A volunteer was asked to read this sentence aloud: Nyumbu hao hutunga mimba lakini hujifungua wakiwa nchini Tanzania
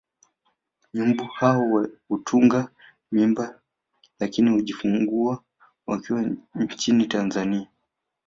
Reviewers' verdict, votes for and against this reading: rejected, 1, 2